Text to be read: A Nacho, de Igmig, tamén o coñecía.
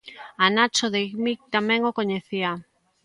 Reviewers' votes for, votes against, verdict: 2, 0, accepted